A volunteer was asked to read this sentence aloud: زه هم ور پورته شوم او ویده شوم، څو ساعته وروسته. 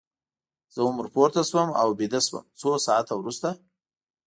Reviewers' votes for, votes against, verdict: 2, 0, accepted